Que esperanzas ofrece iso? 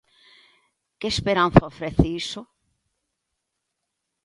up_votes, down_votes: 1, 2